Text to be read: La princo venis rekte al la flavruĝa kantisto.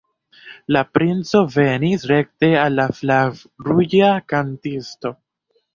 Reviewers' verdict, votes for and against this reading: rejected, 0, 2